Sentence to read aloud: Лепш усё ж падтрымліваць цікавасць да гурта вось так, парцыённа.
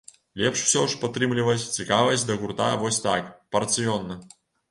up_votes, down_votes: 2, 0